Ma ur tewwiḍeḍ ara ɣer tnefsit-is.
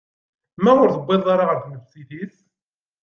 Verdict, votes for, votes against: rejected, 0, 2